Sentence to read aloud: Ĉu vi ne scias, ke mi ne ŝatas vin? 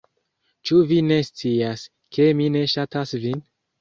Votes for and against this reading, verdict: 2, 0, accepted